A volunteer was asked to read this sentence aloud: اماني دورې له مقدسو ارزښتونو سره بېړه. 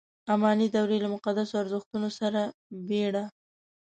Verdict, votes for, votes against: accepted, 2, 0